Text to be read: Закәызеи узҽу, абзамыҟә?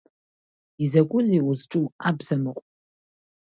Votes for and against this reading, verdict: 2, 0, accepted